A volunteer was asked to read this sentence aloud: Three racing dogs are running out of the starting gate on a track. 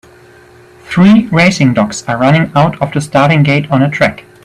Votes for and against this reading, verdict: 2, 1, accepted